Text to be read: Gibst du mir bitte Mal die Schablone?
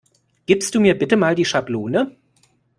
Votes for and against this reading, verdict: 2, 0, accepted